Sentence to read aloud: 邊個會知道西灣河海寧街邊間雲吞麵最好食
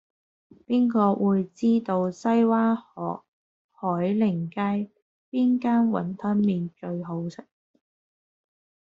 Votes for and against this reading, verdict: 1, 2, rejected